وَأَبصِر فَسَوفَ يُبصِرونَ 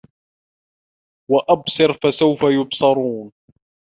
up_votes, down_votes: 0, 2